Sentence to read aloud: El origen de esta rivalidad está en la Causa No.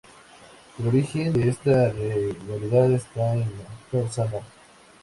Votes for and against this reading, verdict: 2, 0, accepted